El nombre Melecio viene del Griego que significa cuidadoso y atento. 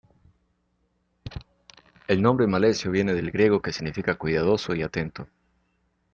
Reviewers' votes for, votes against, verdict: 0, 2, rejected